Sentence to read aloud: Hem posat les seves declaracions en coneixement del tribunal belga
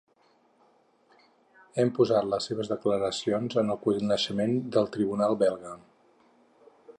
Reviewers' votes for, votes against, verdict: 2, 4, rejected